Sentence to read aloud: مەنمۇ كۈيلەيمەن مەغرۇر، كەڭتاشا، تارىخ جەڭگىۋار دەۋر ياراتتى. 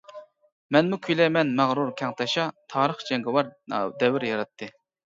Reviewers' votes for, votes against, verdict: 0, 2, rejected